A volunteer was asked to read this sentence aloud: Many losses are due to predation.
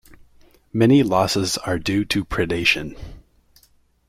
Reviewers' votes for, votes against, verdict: 2, 0, accepted